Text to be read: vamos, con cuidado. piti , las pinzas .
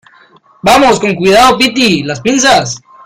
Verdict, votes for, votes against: rejected, 1, 2